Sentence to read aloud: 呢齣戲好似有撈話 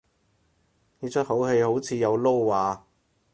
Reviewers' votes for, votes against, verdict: 0, 4, rejected